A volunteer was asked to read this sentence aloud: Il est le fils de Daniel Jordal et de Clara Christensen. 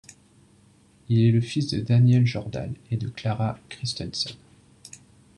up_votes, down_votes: 2, 0